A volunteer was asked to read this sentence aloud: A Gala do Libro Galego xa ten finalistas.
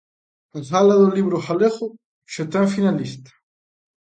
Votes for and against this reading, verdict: 0, 3, rejected